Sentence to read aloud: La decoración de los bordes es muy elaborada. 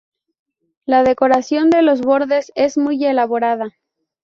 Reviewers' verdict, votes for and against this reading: accepted, 2, 0